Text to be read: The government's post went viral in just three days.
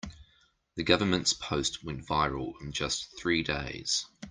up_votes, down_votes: 2, 0